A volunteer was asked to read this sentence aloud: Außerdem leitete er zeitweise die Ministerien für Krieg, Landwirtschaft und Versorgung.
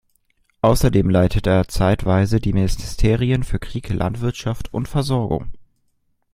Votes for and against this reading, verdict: 1, 2, rejected